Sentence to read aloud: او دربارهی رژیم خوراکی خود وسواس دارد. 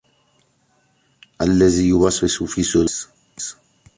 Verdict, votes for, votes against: rejected, 0, 2